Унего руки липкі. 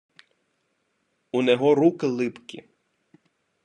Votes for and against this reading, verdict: 2, 1, accepted